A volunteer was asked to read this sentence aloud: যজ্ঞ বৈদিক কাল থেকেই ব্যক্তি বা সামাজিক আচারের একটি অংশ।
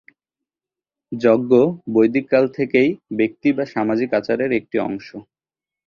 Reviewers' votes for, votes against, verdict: 0, 2, rejected